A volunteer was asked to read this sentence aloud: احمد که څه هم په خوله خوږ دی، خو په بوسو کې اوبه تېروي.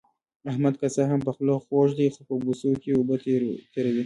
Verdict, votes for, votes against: accepted, 2, 0